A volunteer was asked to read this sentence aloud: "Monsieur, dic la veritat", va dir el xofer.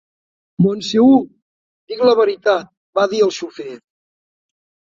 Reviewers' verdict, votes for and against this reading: rejected, 1, 3